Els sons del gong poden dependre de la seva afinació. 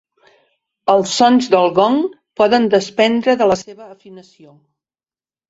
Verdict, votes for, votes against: rejected, 1, 3